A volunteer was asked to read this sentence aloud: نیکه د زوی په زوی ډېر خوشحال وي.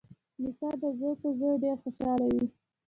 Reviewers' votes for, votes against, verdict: 0, 2, rejected